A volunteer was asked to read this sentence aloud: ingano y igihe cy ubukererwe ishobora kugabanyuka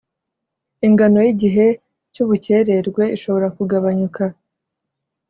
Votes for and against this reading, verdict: 2, 0, accepted